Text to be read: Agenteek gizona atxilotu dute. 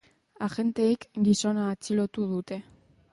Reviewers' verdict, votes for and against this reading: accepted, 2, 0